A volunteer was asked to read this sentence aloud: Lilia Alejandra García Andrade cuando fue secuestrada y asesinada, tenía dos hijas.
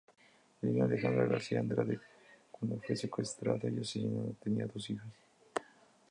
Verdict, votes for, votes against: rejected, 0, 4